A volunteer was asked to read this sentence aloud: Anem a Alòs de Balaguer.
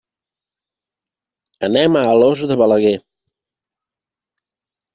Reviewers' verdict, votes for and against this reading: accepted, 3, 0